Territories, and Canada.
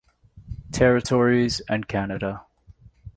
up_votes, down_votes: 2, 1